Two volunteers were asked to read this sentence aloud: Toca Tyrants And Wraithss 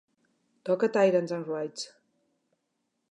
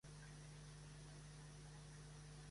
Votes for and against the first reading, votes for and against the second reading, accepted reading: 2, 0, 0, 2, first